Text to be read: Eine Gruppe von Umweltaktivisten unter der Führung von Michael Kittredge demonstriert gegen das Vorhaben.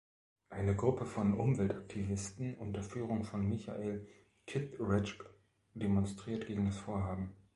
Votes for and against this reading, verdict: 1, 2, rejected